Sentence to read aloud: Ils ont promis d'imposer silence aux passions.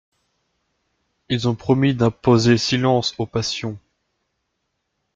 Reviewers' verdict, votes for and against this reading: accepted, 2, 0